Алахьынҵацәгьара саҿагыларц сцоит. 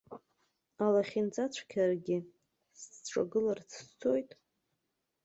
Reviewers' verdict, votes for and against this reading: rejected, 0, 2